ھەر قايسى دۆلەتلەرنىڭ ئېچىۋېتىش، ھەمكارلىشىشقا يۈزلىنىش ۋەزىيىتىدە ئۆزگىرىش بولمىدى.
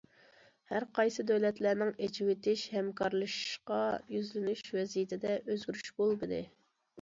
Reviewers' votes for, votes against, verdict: 2, 0, accepted